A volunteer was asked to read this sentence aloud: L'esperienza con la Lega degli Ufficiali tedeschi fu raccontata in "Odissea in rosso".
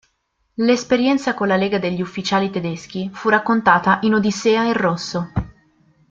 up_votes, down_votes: 2, 0